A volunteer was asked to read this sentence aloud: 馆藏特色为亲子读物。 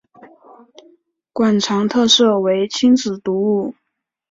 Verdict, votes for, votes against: accepted, 3, 0